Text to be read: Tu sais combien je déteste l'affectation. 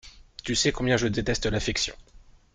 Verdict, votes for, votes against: rejected, 1, 2